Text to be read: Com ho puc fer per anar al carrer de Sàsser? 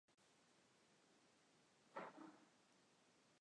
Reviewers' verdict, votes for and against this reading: rejected, 0, 2